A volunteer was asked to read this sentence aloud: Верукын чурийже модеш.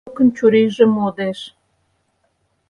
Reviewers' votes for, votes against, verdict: 0, 4, rejected